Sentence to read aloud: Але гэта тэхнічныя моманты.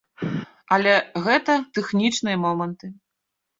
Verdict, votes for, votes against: accepted, 2, 0